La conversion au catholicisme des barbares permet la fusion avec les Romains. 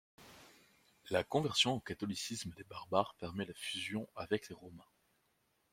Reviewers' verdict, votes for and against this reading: rejected, 0, 2